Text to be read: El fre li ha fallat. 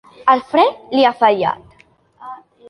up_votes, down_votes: 3, 0